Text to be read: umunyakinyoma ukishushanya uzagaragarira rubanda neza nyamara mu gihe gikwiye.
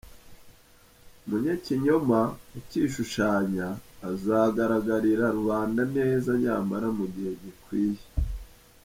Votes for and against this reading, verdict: 1, 2, rejected